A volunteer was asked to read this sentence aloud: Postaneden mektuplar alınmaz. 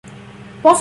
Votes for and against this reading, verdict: 0, 2, rejected